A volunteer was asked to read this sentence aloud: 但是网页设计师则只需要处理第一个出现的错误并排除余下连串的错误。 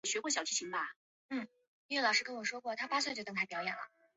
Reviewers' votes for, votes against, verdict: 1, 3, rejected